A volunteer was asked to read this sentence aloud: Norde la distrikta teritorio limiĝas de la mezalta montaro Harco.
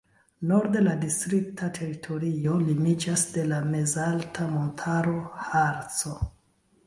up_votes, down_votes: 2, 1